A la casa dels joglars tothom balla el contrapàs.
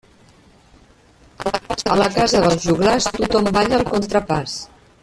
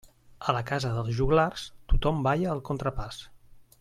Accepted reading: second